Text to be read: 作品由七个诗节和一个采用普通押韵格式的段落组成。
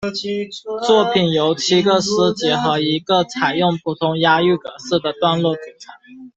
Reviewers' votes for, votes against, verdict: 0, 2, rejected